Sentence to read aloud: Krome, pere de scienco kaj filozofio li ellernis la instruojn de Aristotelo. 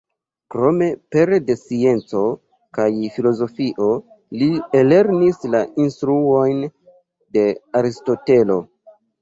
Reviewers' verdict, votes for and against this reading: rejected, 1, 2